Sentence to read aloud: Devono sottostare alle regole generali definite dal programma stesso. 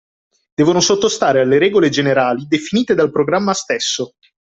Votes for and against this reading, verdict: 2, 0, accepted